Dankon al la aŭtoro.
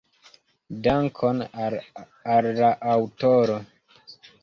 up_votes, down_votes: 2, 1